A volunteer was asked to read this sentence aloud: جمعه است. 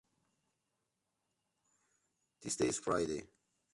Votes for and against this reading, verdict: 0, 2, rejected